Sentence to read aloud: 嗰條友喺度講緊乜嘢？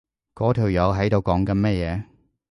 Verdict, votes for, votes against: accepted, 2, 0